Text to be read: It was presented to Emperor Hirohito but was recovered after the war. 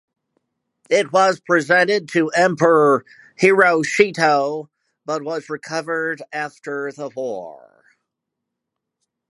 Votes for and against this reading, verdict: 0, 2, rejected